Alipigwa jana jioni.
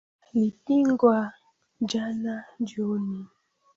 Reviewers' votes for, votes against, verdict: 0, 2, rejected